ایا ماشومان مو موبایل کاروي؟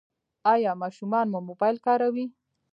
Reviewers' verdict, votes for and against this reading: rejected, 1, 2